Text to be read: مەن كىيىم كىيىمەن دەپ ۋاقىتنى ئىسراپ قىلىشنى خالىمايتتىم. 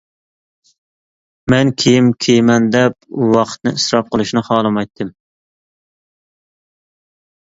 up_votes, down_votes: 2, 0